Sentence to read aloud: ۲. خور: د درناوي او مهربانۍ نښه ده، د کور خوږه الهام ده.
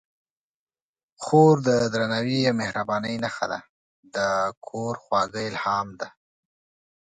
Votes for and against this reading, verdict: 0, 2, rejected